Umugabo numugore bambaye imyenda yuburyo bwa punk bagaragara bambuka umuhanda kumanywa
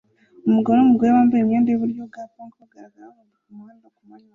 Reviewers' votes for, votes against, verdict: 0, 2, rejected